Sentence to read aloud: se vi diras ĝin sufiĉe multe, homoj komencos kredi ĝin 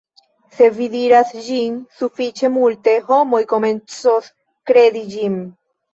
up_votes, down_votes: 2, 0